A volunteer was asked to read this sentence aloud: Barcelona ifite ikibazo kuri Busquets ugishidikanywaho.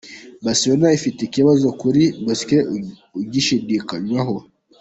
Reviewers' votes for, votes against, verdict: 0, 4, rejected